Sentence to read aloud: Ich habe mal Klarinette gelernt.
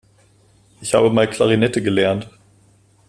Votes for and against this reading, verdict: 2, 0, accepted